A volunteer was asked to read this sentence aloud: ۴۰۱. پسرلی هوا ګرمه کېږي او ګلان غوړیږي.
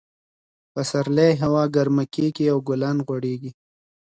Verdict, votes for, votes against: rejected, 0, 2